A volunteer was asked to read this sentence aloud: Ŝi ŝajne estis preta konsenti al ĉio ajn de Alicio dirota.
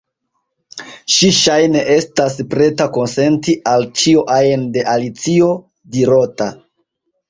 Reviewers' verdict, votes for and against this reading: accepted, 2, 0